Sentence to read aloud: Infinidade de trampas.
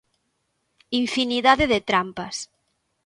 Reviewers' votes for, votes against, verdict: 2, 0, accepted